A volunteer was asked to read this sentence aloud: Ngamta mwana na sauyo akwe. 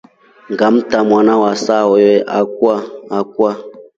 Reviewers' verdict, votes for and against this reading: rejected, 1, 2